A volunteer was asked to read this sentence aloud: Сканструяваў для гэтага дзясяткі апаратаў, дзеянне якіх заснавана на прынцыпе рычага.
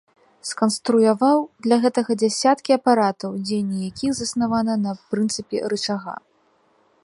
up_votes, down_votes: 2, 1